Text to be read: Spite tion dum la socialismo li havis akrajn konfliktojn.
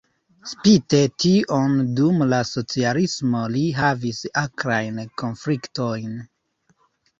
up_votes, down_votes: 0, 2